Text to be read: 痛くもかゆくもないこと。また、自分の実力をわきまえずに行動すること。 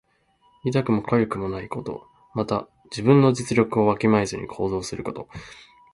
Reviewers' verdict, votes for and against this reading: accepted, 2, 1